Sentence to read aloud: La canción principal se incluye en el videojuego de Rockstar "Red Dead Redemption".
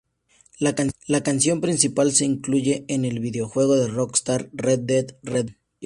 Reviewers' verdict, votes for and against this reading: rejected, 0, 4